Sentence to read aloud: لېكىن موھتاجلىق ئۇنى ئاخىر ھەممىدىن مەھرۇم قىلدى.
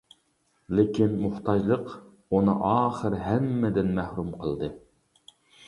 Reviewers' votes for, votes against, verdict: 2, 0, accepted